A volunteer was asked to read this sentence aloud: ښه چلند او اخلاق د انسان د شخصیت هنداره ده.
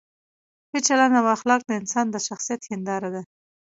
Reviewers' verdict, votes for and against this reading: accepted, 2, 0